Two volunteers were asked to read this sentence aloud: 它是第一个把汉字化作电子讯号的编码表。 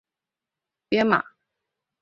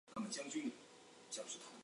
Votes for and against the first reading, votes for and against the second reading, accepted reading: 2, 1, 1, 4, first